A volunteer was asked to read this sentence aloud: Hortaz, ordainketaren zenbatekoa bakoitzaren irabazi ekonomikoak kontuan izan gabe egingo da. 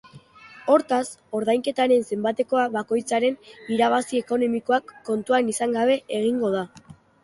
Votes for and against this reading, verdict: 3, 0, accepted